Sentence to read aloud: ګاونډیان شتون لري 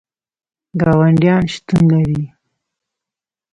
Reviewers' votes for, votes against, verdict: 2, 0, accepted